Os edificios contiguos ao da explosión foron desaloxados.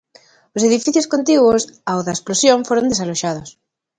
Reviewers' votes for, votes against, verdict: 2, 0, accepted